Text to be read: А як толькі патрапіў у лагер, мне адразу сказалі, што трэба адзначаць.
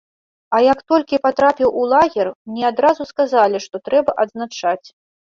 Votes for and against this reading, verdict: 2, 0, accepted